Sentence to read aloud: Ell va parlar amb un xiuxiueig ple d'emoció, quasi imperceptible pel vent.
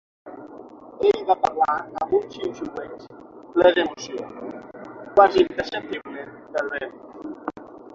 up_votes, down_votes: 3, 6